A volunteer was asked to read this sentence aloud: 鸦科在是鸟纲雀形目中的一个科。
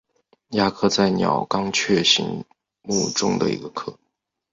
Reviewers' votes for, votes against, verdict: 3, 0, accepted